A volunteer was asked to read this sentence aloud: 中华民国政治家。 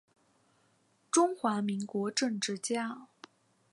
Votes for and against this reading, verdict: 2, 0, accepted